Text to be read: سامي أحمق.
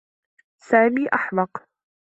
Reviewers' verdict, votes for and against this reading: accepted, 3, 0